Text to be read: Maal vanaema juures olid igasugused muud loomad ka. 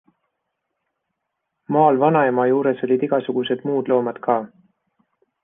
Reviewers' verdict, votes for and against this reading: accepted, 2, 0